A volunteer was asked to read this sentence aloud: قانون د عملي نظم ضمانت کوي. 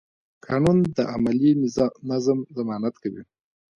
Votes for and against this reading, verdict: 0, 2, rejected